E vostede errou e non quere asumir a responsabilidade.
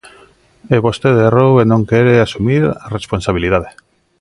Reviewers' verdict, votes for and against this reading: accepted, 2, 0